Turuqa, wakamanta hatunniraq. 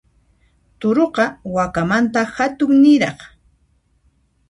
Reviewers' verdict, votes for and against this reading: accepted, 2, 0